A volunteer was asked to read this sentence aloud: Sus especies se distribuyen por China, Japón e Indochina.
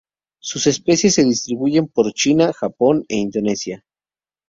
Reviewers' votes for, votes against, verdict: 2, 0, accepted